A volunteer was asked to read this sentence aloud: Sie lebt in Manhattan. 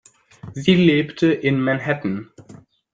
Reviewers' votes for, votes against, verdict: 1, 2, rejected